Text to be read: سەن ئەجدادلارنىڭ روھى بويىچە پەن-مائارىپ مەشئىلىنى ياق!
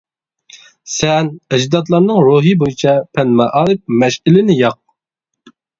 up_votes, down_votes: 2, 0